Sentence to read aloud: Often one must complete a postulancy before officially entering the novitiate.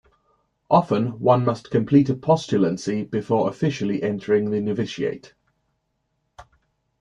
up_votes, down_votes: 2, 0